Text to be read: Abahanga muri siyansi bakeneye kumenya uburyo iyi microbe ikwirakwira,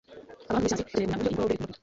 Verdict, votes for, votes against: rejected, 1, 2